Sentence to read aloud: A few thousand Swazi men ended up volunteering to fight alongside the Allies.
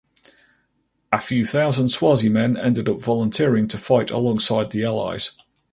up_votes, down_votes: 4, 0